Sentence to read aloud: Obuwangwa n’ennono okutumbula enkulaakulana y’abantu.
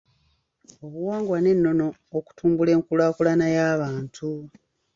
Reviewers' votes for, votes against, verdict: 2, 0, accepted